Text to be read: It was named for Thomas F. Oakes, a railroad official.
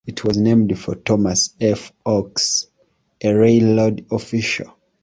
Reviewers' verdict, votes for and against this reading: rejected, 0, 2